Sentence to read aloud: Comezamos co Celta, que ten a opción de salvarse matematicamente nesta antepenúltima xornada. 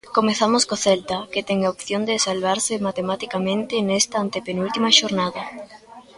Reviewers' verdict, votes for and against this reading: rejected, 1, 2